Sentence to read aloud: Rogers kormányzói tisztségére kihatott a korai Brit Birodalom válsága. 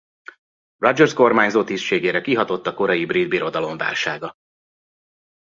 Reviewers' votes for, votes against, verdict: 0, 2, rejected